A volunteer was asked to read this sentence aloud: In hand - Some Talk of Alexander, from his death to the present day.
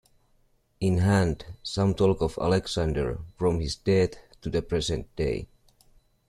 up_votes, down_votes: 2, 1